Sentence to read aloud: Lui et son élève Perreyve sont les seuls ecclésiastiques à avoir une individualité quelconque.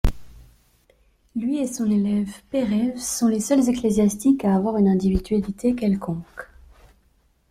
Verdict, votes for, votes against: accepted, 3, 0